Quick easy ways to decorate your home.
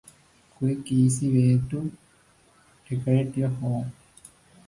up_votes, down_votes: 0, 2